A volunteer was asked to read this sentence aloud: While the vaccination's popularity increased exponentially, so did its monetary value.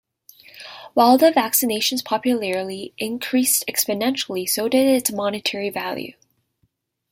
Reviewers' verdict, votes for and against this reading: accepted, 2, 1